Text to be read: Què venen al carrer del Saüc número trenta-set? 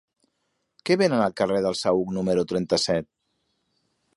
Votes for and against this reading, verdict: 3, 0, accepted